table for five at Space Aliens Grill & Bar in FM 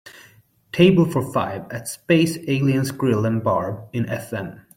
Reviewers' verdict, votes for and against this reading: accepted, 2, 0